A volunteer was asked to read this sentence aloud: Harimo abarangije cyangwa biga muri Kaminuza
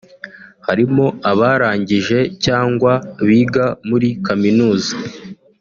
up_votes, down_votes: 3, 0